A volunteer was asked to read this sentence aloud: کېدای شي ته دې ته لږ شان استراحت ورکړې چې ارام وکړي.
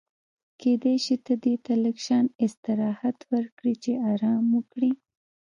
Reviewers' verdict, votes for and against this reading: rejected, 0, 2